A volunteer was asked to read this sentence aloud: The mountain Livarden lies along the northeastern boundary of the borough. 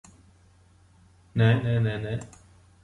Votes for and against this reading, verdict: 0, 2, rejected